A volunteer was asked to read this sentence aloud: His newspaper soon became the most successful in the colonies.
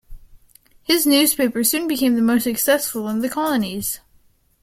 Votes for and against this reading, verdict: 2, 0, accepted